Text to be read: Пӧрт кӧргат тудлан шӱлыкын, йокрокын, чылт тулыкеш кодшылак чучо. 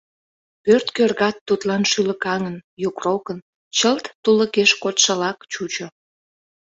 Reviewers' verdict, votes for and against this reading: rejected, 0, 2